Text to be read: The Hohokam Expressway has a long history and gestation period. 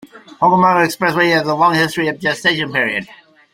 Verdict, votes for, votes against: rejected, 1, 2